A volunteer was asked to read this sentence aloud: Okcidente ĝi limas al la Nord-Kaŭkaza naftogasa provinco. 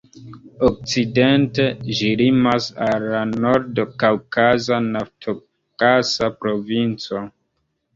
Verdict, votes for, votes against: rejected, 0, 2